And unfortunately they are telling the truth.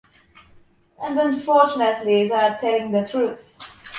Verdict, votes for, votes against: accepted, 2, 0